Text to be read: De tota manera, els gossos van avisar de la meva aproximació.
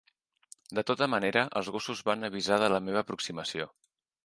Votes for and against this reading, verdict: 3, 0, accepted